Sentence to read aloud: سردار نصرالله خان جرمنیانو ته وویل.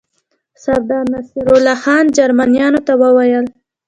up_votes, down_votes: 1, 2